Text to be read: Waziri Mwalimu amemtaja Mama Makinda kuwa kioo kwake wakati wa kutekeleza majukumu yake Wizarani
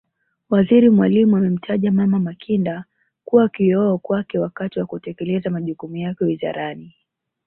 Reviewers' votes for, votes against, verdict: 0, 2, rejected